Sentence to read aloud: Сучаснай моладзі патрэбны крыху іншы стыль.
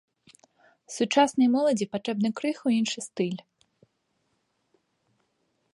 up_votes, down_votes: 0, 2